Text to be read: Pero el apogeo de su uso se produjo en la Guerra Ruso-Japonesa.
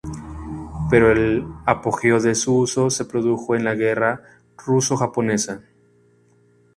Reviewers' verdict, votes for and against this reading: accepted, 2, 0